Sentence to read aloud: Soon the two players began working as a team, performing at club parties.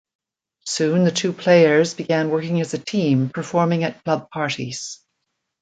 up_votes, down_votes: 1, 2